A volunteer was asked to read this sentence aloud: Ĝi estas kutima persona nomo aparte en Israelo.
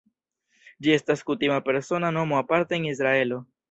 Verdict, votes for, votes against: rejected, 0, 2